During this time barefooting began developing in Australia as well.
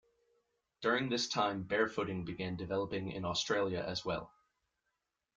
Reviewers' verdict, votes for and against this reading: accepted, 2, 0